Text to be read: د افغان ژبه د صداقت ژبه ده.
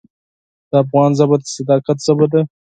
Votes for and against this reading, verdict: 4, 0, accepted